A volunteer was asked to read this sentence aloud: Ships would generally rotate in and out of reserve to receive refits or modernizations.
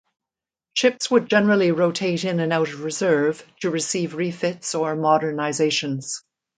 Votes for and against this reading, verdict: 0, 2, rejected